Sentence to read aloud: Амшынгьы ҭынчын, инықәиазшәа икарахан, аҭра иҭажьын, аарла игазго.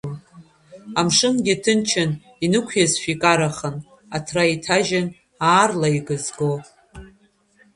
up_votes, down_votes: 1, 2